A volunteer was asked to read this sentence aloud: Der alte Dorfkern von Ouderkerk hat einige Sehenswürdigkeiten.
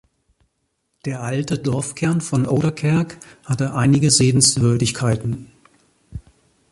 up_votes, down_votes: 0, 2